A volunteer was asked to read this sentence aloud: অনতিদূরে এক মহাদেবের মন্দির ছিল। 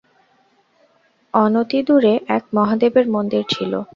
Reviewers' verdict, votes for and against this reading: accepted, 2, 0